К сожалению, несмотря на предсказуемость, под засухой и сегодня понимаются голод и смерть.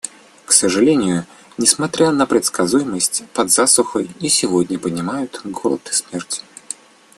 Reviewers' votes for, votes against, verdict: 2, 1, accepted